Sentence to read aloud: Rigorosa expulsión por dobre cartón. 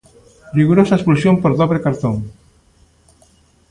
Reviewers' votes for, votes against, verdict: 1, 2, rejected